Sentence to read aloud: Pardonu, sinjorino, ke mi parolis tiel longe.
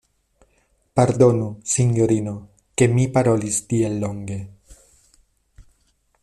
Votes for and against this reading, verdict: 2, 0, accepted